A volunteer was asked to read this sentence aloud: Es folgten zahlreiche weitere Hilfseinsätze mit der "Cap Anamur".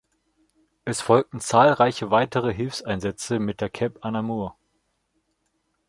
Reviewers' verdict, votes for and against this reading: rejected, 1, 2